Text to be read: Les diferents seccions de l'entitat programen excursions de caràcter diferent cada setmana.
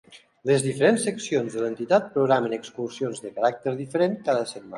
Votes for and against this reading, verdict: 2, 0, accepted